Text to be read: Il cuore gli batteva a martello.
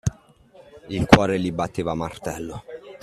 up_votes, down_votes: 2, 0